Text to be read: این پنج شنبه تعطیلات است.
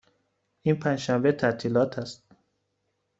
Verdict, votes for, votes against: accepted, 2, 0